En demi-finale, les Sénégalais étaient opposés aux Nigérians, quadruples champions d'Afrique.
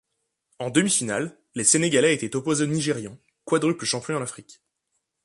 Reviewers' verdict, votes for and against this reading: rejected, 1, 2